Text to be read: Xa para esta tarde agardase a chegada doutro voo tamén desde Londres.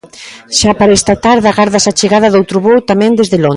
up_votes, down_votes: 0, 2